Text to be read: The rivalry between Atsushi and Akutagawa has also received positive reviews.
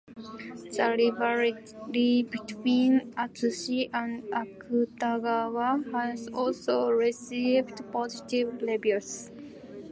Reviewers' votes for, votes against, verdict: 0, 2, rejected